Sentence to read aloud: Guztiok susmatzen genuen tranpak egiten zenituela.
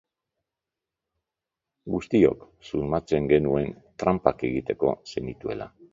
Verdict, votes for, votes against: rejected, 0, 3